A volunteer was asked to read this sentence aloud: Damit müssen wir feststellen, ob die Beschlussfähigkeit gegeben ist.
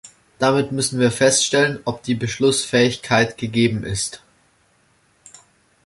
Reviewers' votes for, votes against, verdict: 2, 0, accepted